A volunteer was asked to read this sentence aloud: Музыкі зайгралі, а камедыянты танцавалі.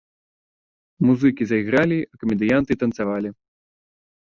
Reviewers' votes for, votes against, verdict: 1, 2, rejected